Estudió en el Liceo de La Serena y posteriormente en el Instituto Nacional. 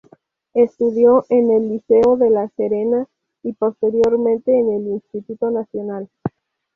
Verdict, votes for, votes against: accepted, 2, 0